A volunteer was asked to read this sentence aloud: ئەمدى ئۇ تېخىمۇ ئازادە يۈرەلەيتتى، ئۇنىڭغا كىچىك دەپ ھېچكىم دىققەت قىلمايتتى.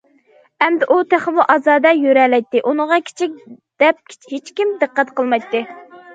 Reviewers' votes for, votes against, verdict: 2, 0, accepted